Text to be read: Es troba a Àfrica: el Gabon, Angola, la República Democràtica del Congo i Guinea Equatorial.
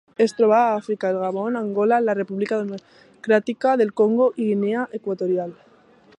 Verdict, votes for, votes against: accepted, 3, 1